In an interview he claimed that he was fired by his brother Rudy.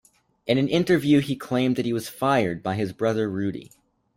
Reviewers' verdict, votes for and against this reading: accepted, 2, 0